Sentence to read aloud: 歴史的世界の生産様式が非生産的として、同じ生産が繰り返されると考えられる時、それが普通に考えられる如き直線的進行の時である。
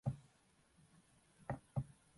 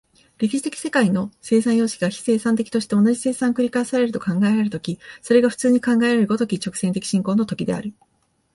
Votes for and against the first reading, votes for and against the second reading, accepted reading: 0, 3, 3, 0, second